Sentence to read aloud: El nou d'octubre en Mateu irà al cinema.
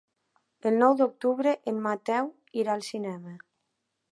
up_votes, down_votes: 3, 0